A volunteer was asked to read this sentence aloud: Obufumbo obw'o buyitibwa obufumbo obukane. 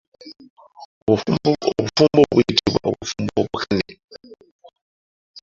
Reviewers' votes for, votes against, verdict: 1, 2, rejected